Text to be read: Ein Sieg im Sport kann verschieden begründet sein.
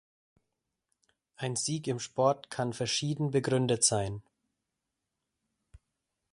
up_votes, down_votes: 2, 0